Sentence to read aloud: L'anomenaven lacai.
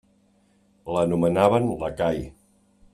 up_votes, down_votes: 2, 0